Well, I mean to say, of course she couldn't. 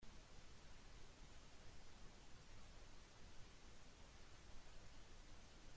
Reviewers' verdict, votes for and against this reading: rejected, 0, 2